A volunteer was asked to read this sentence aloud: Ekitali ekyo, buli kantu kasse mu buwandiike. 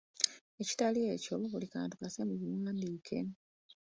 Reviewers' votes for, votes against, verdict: 2, 1, accepted